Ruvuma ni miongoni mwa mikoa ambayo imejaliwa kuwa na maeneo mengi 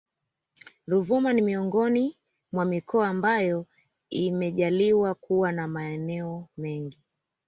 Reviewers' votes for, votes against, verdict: 2, 0, accepted